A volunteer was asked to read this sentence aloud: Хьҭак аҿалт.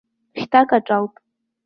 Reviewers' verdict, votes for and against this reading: accepted, 2, 0